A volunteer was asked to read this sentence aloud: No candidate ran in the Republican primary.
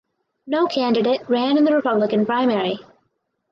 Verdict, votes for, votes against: accepted, 4, 2